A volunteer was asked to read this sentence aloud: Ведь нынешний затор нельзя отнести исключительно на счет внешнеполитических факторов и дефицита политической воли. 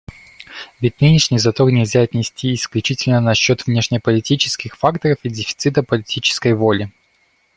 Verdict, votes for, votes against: accepted, 2, 0